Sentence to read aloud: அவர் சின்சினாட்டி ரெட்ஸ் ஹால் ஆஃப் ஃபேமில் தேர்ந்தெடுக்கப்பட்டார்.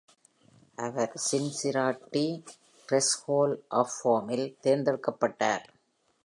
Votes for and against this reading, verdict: 5, 2, accepted